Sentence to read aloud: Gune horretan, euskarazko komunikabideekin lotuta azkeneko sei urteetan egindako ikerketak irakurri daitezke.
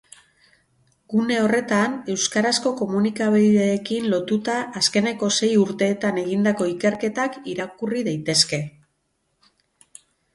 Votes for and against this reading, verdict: 6, 0, accepted